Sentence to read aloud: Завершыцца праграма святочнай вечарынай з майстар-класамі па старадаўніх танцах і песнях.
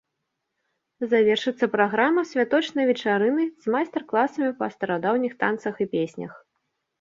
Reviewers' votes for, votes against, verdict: 2, 0, accepted